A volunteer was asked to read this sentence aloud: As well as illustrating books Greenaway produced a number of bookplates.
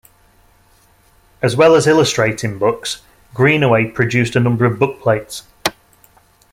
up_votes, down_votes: 2, 0